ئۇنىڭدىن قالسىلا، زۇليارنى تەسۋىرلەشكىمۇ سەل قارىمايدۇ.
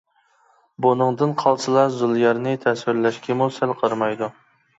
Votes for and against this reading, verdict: 1, 2, rejected